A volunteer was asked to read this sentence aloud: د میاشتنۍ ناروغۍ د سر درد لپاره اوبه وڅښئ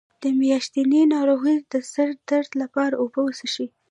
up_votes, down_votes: 2, 1